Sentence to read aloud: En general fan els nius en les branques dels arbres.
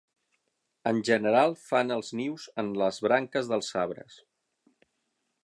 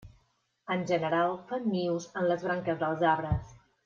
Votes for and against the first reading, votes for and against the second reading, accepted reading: 6, 0, 0, 2, first